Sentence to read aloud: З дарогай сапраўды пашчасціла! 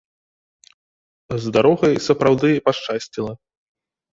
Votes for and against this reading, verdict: 5, 0, accepted